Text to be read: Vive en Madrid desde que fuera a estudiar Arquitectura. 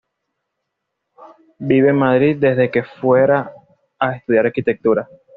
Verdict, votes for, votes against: accepted, 2, 0